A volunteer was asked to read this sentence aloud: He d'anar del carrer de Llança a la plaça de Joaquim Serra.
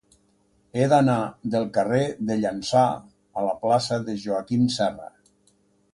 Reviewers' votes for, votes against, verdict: 2, 0, accepted